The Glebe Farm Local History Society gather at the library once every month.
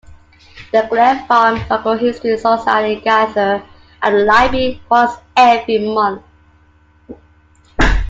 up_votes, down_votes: 0, 2